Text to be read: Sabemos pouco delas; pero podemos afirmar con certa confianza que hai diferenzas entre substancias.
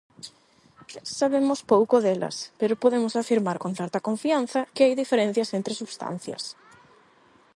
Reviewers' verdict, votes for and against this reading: rejected, 0, 8